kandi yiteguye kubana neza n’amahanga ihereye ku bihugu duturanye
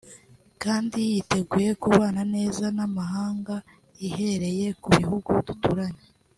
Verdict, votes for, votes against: rejected, 0, 2